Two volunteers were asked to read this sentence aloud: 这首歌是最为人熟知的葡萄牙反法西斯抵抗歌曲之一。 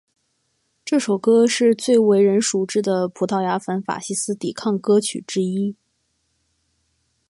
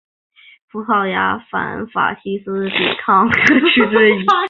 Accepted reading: first